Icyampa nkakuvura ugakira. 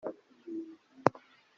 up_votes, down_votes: 0, 2